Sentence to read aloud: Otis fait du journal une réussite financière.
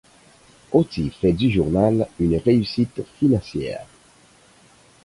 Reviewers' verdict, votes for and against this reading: accepted, 4, 2